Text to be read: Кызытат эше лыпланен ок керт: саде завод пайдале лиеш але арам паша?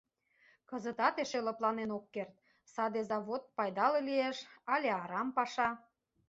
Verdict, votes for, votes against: rejected, 1, 2